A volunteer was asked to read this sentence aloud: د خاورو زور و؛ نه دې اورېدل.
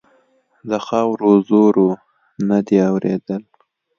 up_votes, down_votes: 2, 0